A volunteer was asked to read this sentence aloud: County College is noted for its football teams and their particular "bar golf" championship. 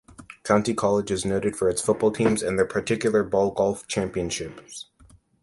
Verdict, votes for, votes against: accepted, 2, 1